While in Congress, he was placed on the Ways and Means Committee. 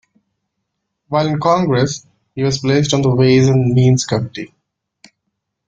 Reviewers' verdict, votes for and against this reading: rejected, 1, 2